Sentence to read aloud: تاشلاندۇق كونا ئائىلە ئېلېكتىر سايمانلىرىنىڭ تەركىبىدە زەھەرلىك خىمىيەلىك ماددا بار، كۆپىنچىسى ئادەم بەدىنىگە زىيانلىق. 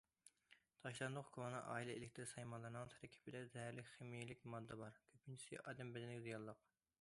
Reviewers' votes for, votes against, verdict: 2, 0, accepted